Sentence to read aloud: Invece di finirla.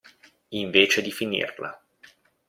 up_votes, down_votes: 2, 0